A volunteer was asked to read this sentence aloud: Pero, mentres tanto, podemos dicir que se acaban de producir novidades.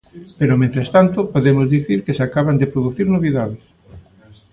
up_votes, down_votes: 1, 2